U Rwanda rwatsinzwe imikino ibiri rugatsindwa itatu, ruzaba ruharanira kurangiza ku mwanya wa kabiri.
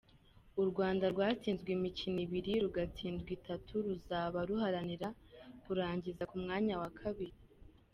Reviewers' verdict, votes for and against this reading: accepted, 2, 1